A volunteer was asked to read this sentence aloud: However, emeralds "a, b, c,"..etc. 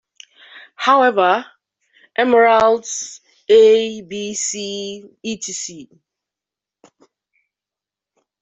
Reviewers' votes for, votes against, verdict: 3, 2, accepted